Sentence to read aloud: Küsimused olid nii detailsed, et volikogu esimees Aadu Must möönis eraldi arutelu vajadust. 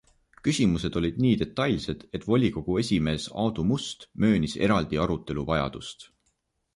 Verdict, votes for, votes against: accepted, 2, 0